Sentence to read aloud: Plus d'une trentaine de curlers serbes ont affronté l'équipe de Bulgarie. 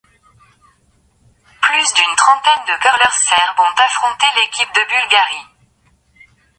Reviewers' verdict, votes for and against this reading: accepted, 2, 0